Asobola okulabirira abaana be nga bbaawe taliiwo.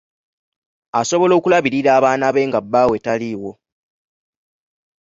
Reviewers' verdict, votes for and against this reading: accepted, 2, 0